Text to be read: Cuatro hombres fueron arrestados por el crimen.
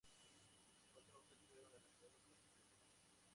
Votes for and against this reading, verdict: 0, 2, rejected